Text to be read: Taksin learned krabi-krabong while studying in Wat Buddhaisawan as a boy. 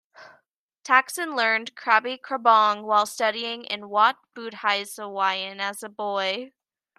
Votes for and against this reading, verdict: 1, 2, rejected